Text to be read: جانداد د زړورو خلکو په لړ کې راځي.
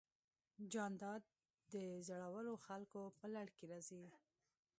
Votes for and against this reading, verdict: 2, 0, accepted